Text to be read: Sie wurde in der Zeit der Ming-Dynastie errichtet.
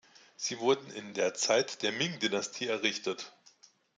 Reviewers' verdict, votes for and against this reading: rejected, 1, 2